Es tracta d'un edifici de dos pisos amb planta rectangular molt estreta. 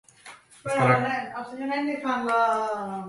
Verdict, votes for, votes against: rejected, 0, 2